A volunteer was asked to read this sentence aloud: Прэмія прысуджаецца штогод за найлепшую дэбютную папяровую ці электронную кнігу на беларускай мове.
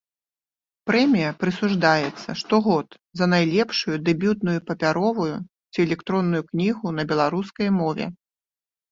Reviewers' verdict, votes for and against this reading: rejected, 0, 2